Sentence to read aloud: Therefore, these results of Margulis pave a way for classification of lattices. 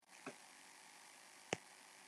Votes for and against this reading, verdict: 0, 2, rejected